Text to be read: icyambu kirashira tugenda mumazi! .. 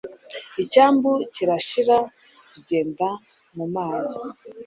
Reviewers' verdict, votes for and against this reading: accepted, 2, 0